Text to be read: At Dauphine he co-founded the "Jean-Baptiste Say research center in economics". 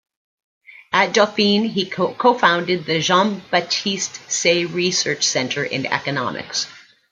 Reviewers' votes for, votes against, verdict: 0, 2, rejected